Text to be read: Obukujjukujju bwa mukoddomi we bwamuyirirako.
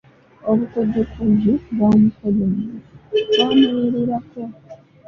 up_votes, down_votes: 0, 2